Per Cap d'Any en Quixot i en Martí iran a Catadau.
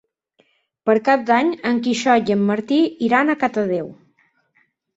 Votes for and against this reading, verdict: 2, 4, rejected